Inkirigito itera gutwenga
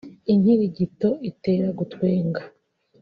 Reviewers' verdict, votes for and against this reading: accepted, 2, 0